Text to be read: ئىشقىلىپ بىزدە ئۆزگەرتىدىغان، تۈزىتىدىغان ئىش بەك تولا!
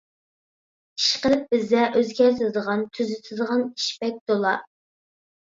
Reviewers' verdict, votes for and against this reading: accepted, 2, 0